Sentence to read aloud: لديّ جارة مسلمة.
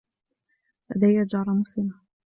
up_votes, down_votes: 2, 0